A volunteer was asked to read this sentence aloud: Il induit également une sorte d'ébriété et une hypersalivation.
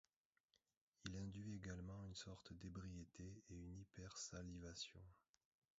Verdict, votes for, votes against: rejected, 0, 2